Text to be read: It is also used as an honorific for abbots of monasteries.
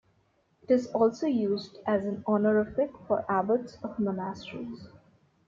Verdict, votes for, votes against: accepted, 2, 1